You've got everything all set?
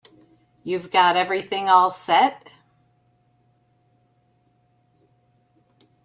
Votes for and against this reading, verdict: 3, 0, accepted